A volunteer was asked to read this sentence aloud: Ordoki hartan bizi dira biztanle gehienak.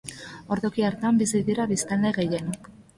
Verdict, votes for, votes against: rejected, 0, 2